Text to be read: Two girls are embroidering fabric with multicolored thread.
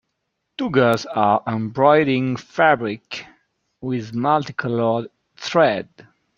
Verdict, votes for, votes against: rejected, 0, 2